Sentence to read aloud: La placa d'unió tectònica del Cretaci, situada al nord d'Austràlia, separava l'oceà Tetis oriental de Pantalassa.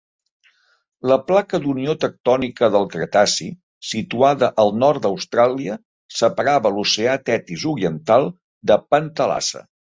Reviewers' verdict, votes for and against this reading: accepted, 3, 0